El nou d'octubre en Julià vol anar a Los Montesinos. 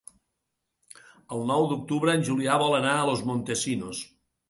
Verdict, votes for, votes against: accepted, 3, 0